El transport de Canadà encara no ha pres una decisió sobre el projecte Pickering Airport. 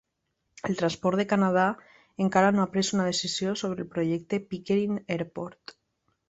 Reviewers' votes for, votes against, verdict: 3, 0, accepted